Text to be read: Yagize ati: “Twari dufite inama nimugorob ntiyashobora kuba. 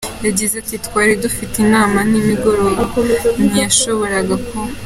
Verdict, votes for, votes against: rejected, 0, 2